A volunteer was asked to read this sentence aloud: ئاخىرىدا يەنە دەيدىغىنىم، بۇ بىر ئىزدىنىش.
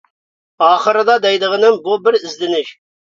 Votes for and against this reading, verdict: 0, 2, rejected